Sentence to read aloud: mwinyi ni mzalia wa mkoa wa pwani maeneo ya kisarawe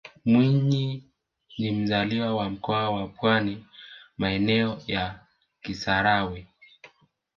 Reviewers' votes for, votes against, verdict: 1, 2, rejected